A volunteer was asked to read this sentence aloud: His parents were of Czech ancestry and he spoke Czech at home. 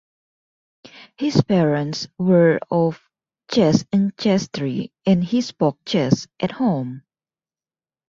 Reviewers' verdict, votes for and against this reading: rejected, 0, 2